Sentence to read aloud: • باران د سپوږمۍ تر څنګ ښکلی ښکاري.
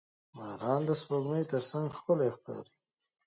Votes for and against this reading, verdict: 0, 2, rejected